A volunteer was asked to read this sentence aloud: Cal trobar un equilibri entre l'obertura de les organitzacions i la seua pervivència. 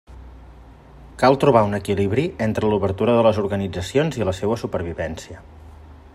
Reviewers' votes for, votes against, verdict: 0, 2, rejected